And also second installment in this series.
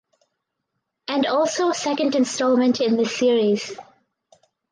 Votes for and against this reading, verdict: 4, 0, accepted